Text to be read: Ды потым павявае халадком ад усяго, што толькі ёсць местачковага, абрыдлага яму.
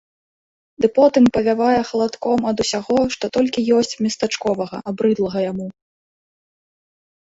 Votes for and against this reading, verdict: 2, 0, accepted